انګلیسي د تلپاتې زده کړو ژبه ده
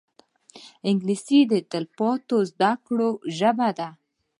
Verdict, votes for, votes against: accepted, 2, 1